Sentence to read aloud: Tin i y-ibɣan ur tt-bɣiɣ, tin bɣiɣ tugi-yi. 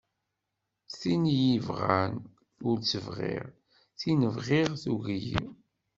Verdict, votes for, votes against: accepted, 2, 0